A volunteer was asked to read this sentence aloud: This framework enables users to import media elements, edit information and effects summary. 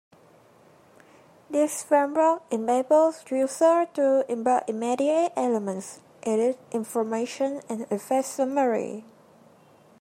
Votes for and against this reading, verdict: 0, 2, rejected